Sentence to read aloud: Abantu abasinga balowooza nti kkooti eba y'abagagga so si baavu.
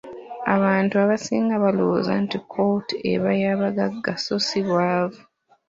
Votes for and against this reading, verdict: 2, 1, accepted